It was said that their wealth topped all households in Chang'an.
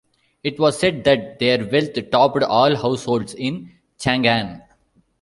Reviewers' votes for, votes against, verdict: 1, 2, rejected